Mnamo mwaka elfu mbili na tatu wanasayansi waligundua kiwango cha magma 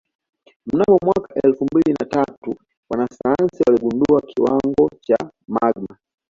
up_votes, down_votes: 2, 1